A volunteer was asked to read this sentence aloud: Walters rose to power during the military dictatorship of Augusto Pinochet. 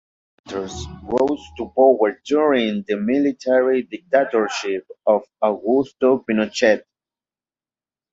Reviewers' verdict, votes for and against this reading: accepted, 2, 0